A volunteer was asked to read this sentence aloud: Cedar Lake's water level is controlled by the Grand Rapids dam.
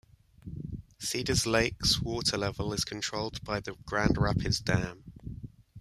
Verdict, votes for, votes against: rejected, 1, 2